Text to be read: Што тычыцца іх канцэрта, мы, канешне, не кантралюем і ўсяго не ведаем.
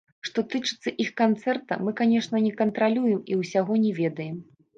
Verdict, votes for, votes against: rejected, 1, 2